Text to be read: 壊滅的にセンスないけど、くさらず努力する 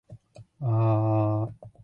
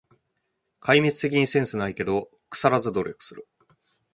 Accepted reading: second